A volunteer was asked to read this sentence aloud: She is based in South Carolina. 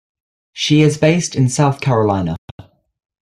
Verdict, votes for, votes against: accepted, 2, 1